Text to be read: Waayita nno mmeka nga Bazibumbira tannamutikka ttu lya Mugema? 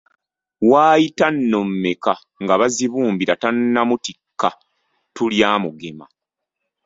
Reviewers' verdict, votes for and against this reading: accepted, 2, 0